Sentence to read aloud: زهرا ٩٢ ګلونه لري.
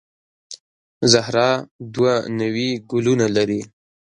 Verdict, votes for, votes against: rejected, 0, 2